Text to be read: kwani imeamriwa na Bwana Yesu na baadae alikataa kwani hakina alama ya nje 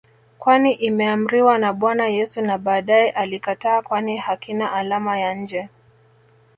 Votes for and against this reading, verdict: 1, 2, rejected